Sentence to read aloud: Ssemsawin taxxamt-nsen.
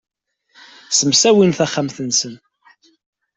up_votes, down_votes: 2, 0